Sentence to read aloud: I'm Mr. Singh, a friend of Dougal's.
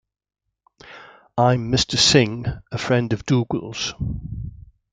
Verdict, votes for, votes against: accepted, 2, 0